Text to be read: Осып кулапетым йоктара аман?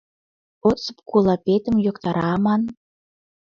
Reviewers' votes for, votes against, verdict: 2, 0, accepted